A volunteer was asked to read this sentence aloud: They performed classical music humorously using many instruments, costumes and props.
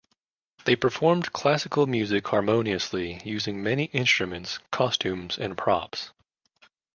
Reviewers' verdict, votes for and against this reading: rejected, 1, 2